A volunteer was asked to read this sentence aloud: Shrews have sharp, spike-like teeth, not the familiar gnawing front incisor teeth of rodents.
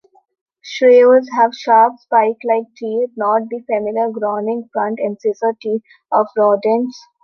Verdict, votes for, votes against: rejected, 0, 2